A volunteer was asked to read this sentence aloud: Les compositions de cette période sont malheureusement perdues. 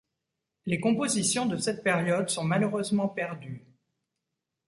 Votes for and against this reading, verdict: 2, 0, accepted